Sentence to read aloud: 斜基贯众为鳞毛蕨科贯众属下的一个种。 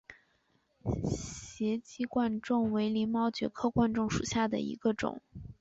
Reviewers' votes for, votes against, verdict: 3, 0, accepted